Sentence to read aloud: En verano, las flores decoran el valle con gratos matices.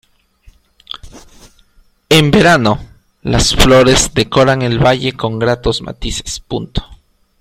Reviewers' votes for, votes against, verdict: 0, 2, rejected